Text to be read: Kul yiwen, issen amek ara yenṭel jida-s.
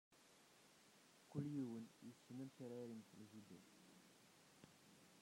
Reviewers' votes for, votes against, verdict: 0, 2, rejected